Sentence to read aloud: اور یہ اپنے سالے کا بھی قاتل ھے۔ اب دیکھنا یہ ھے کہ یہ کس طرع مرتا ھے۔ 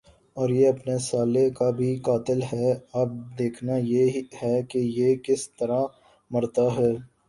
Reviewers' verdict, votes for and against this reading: accepted, 7, 1